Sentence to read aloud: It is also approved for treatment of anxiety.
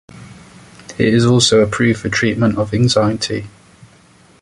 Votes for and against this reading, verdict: 2, 0, accepted